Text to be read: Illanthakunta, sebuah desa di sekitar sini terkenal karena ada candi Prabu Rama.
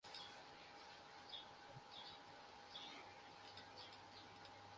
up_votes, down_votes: 1, 2